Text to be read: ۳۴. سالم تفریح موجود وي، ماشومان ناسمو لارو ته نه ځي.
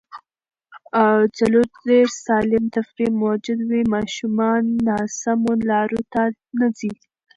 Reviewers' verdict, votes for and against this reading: rejected, 0, 2